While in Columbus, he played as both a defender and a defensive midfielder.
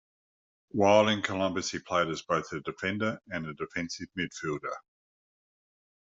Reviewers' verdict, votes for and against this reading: accepted, 2, 0